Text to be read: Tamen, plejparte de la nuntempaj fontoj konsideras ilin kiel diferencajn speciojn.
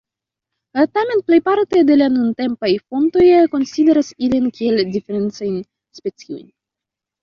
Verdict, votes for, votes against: rejected, 0, 2